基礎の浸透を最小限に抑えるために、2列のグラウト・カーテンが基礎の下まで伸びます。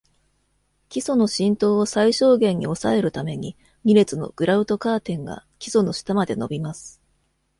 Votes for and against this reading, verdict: 0, 2, rejected